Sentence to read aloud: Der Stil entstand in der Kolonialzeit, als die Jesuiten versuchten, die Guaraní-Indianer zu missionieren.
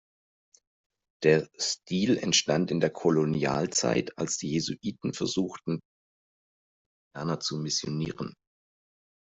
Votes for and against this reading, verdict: 0, 2, rejected